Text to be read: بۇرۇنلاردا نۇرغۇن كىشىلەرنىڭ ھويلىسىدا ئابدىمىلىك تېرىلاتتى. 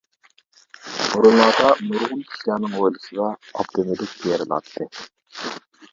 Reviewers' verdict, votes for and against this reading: rejected, 0, 2